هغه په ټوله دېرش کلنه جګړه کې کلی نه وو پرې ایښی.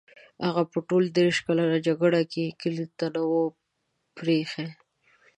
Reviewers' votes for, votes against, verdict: 0, 2, rejected